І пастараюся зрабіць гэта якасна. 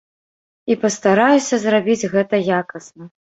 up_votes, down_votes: 2, 0